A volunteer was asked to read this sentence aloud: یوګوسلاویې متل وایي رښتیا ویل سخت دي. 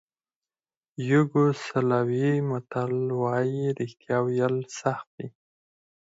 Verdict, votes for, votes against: rejected, 0, 4